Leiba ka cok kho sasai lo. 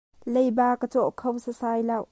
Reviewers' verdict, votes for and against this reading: rejected, 0, 2